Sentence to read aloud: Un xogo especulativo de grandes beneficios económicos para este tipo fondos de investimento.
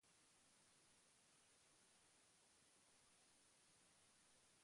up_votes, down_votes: 0, 2